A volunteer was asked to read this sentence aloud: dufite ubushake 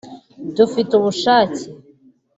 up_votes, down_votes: 2, 0